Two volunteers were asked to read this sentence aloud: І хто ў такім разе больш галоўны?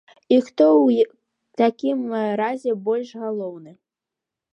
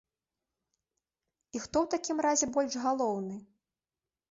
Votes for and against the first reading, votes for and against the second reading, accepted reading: 1, 2, 2, 0, second